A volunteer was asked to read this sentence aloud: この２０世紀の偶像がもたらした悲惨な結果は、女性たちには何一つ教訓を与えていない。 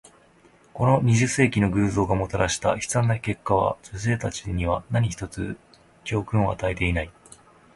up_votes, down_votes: 0, 2